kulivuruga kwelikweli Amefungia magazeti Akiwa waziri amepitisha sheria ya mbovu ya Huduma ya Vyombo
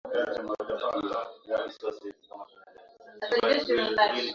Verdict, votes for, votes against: rejected, 0, 15